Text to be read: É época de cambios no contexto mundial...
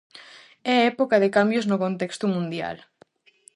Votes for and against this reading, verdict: 4, 0, accepted